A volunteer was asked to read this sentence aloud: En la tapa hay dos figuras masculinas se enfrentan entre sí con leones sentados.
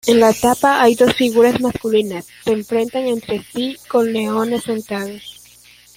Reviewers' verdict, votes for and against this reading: accepted, 2, 1